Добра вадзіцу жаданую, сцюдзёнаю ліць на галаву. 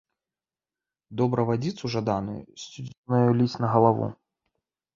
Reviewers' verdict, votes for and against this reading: rejected, 0, 2